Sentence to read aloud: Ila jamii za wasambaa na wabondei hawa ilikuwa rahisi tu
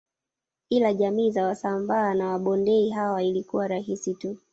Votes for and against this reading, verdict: 2, 1, accepted